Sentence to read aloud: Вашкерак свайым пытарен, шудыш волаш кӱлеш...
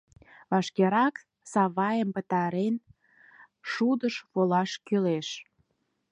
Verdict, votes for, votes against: rejected, 0, 4